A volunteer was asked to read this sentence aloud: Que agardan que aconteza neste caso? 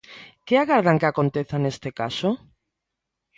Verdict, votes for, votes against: accepted, 2, 0